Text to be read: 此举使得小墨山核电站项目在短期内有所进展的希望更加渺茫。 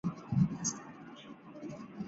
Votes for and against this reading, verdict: 0, 3, rejected